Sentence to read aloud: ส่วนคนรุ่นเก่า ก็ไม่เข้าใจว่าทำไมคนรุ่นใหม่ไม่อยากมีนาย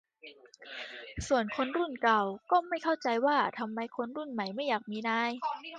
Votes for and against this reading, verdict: 2, 1, accepted